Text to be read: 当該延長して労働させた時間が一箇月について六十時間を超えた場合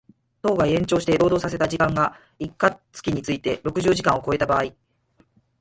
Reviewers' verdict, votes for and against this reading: rejected, 0, 4